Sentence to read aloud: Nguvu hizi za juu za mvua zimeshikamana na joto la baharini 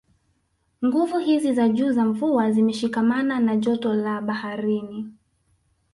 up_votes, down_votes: 2, 0